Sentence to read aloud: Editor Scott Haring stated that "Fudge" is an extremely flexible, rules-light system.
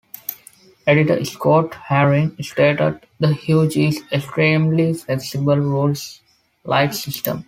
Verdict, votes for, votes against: rejected, 1, 2